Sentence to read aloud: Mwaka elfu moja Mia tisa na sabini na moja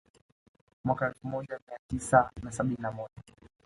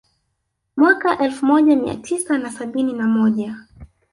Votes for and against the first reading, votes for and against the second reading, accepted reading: 2, 1, 1, 2, first